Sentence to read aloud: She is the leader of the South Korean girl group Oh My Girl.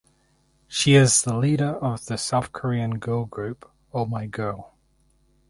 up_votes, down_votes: 2, 2